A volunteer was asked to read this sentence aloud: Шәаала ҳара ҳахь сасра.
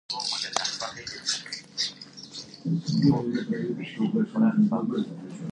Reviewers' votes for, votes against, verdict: 0, 2, rejected